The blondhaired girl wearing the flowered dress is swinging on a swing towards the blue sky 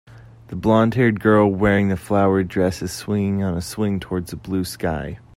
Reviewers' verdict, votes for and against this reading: accepted, 2, 0